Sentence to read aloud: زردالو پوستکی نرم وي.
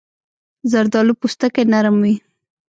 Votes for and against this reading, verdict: 1, 2, rejected